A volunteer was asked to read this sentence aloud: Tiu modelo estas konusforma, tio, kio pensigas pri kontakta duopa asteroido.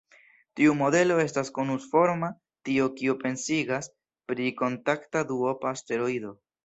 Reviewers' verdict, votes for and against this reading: rejected, 1, 2